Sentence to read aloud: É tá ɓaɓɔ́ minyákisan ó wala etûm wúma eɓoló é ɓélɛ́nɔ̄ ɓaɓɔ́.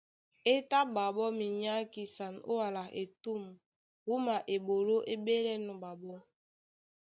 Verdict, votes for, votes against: accepted, 2, 0